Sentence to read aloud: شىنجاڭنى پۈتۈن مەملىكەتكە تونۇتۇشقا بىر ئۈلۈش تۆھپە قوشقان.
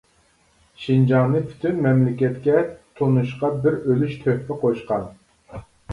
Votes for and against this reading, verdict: 0, 2, rejected